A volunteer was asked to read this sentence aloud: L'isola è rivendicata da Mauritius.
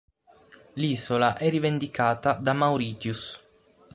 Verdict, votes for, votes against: accepted, 6, 3